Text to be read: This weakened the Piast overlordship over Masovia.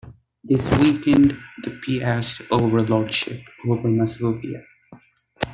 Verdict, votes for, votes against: accepted, 2, 0